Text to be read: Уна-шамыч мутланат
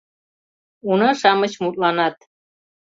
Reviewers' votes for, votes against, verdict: 2, 0, accepted